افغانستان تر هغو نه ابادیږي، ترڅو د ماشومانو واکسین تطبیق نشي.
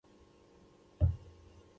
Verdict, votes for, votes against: rejected, 1, 2